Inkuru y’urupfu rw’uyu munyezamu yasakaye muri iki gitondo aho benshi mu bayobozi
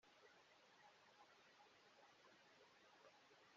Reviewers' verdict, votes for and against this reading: rejected, 0, 2